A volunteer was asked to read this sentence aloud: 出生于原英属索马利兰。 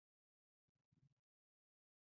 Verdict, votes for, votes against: rejected, 0, 2